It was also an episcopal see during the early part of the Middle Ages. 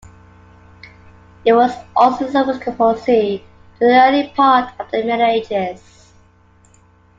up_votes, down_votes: 0, 2